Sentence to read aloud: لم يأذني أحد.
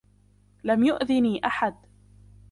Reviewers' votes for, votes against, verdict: 2, 0, accepted